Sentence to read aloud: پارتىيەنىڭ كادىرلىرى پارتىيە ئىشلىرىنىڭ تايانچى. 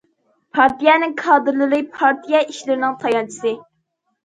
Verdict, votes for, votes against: rejected, 0, 2